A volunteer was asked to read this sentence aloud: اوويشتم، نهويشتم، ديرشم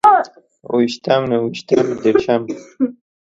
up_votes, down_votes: 2, 0